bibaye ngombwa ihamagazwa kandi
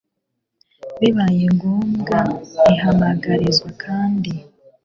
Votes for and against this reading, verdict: 0, 2, rejected